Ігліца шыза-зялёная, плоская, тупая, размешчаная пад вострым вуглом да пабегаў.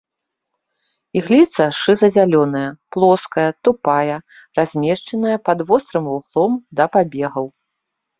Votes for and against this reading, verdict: 2, 0, accepted